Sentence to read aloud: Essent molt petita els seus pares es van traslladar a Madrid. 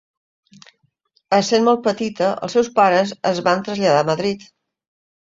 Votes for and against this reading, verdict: 3, 0, accepted